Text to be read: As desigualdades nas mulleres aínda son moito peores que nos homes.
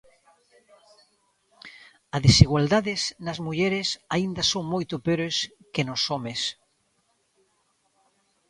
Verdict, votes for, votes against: rejected, 0, 2